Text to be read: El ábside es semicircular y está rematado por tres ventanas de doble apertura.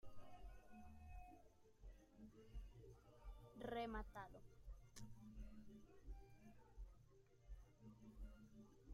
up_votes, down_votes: 0, 2